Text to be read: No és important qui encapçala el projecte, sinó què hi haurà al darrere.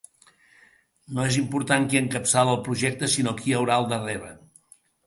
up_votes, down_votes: 0, 2